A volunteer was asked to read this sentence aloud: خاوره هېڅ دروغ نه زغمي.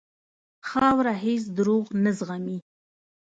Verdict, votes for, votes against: accepted, 2, 1